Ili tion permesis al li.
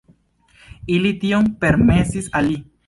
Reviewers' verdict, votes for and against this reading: accepted, 2, 1